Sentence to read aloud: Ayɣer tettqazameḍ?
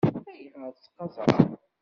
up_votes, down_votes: 1, 2